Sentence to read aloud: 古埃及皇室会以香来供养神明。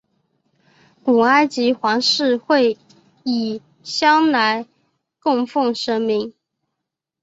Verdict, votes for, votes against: rejected, 1, 2